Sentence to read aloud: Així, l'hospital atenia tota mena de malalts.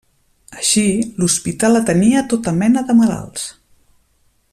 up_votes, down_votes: 2, 0